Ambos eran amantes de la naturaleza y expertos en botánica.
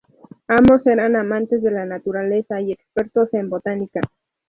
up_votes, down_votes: 2, 0